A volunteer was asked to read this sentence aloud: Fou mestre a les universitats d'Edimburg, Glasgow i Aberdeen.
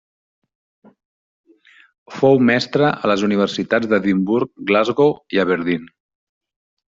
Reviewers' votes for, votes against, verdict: 3, 0, accepted